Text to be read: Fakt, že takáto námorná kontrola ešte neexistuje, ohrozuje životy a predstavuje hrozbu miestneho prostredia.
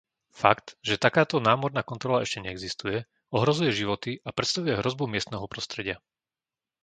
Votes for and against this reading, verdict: 2, 0, accepted